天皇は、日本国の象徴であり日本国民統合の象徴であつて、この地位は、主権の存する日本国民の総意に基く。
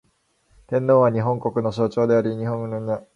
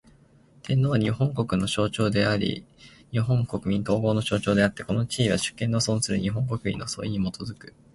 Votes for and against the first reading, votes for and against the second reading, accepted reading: 0, 2, 2, 0, second